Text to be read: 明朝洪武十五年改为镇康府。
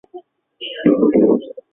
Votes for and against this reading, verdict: 0, 2, rejected